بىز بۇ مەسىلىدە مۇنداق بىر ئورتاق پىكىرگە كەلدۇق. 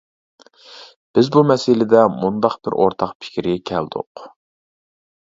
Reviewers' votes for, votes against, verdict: 2, 0, accepted